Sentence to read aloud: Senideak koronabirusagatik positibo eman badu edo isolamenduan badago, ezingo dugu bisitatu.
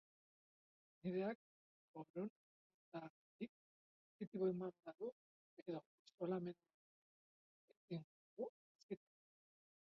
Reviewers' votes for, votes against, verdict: 0, 2, rejected